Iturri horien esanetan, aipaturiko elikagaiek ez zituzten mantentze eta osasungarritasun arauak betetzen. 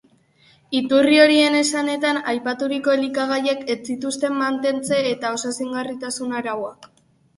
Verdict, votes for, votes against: rejected, 0, 2